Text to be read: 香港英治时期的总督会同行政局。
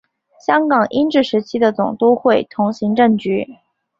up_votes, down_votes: 2, 0